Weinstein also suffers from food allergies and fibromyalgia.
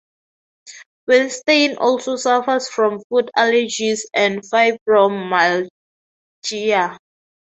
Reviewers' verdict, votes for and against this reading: rejected, 0, 2